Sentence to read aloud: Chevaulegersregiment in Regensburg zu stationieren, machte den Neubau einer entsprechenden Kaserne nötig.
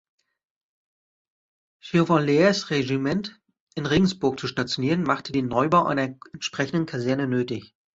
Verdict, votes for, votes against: rejected, 0, 2